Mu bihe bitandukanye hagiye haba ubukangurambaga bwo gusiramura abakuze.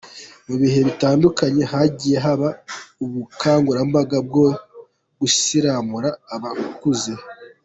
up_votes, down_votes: 2, 1